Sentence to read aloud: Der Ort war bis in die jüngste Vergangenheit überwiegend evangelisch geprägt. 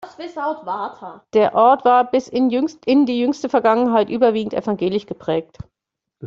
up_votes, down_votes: 0, 2